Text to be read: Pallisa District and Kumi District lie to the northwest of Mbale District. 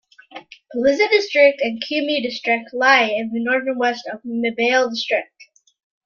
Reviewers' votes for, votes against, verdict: 0, 2, rejected